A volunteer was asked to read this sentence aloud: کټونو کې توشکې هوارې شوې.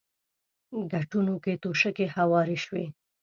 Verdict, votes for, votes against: accepted, 2, 1